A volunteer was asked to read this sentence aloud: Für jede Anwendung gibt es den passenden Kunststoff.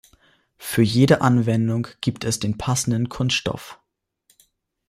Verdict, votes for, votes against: accepted, 2, 0